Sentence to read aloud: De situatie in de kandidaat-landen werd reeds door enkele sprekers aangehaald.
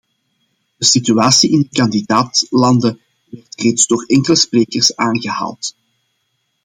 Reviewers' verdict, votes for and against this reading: accepted, 2, 1